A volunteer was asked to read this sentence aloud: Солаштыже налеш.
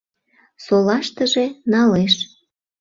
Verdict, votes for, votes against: accepted, 2, 0